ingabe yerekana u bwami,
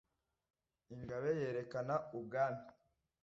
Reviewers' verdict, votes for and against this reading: accepted, 2, 0